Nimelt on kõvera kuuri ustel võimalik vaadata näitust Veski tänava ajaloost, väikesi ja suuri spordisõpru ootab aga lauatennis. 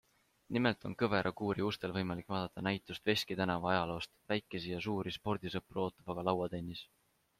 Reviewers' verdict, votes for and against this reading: accepted, 2, 0